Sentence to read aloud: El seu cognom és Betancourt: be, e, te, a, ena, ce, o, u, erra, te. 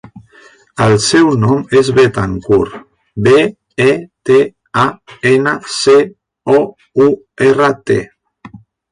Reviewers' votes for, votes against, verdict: 0, 2, rejected